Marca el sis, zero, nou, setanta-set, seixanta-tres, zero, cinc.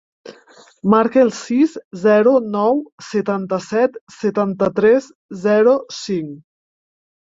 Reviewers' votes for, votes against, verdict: 0, 2, rejected